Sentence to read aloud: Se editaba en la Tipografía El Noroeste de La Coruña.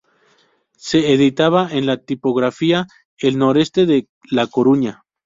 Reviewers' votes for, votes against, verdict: 0, 2, rejected